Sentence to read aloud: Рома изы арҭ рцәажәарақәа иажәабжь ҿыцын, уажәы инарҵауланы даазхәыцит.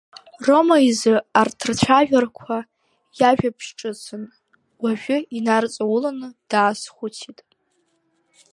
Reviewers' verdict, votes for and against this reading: rejected, 1, 2